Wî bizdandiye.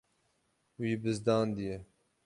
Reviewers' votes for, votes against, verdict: 6, 0, accepted